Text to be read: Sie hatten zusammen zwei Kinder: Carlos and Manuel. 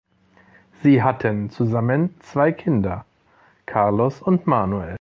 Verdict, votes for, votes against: accepted, 2, 0